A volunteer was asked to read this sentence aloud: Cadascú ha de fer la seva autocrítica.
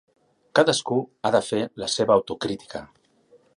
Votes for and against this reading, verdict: 3, 0, accepted